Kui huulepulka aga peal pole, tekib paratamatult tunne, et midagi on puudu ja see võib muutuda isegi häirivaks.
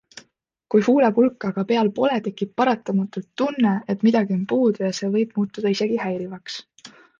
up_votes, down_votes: 2, 0